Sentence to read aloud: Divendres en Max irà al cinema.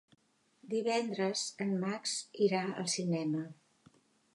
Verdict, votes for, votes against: accepted, 3, 0